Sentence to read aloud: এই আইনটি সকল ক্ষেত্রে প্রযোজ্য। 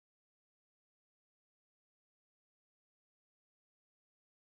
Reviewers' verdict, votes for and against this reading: rejected, 0, 2